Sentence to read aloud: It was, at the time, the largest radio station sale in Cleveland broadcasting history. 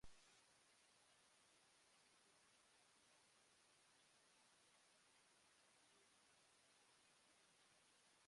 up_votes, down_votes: 0, 2